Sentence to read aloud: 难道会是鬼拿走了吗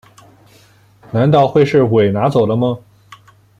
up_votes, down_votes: 2, 0